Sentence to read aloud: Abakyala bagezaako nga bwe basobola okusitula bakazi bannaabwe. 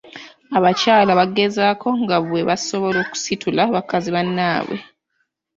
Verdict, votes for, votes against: accepted, 2, 0